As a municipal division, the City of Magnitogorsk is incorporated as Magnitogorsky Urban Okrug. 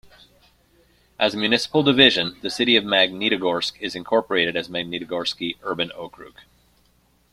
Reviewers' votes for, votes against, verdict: 2, 1, accepted